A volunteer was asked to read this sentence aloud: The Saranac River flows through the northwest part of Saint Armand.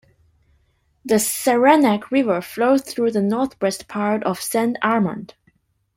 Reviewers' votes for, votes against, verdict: 2, 0, accepted